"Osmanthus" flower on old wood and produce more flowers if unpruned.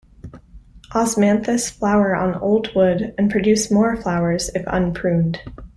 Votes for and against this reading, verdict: 2, 0, accepted